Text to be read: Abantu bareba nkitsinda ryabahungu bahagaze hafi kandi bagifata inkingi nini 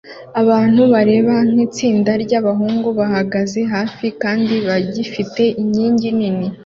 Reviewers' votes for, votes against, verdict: 2, 0, accepted